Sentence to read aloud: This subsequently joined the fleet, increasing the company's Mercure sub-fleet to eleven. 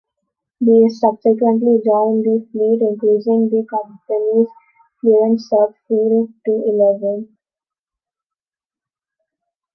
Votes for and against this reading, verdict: 0, 2, rejected